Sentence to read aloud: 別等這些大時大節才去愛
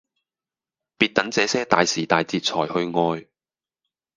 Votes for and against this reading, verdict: 4, 0, accepted